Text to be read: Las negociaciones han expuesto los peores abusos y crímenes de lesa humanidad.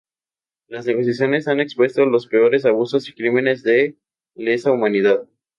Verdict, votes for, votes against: accepted, 2, 0